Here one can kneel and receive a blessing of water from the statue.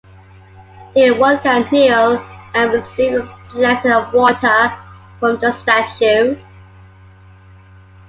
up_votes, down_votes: 2, 1